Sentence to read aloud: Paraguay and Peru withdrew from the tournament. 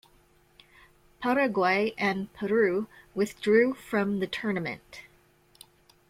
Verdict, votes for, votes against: accepted, 2, 0